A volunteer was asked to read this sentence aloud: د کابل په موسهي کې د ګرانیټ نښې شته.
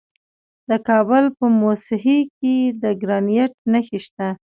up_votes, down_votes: 2, 0